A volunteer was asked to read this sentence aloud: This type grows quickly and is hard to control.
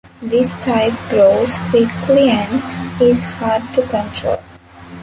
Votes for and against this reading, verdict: 2, 0, accepted